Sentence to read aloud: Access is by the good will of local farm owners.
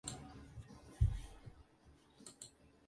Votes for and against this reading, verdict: 0, 4, rejected